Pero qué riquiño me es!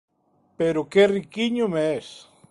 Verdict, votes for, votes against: accepted, 2, 0